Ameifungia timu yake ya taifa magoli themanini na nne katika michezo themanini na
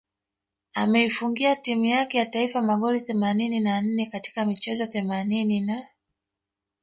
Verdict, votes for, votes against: rejected, 0, 2